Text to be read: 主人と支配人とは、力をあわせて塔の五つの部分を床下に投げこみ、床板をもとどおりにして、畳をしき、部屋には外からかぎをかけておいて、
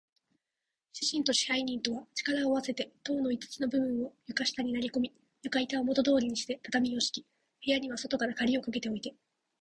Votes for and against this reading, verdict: 7, 0, accepted